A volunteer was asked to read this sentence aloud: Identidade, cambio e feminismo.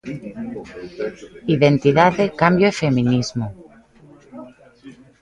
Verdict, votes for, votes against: accepted, 2, 0